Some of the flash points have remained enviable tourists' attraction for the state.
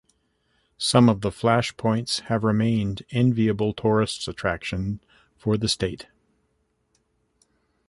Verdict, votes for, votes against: accepted, 2, 0